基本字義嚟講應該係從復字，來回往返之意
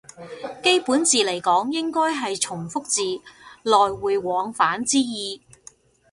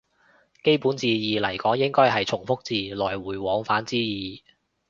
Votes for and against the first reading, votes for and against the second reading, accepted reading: 0, 2, 2, 0, second